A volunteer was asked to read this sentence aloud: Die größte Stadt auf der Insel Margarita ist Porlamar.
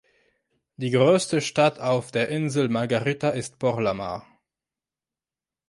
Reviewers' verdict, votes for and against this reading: accepted, 3, 1